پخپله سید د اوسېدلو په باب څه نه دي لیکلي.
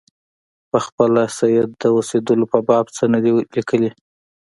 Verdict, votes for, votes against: rejected, 1, 2